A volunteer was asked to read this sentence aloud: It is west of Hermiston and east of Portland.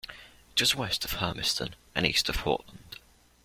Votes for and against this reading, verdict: 1, 2, rejected